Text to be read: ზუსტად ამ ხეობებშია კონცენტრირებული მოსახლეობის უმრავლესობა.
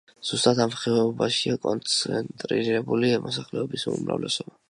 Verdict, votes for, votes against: accepted, 2, 0